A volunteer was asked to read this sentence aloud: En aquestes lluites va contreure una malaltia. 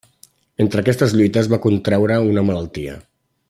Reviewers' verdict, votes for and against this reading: rejected, 0, 2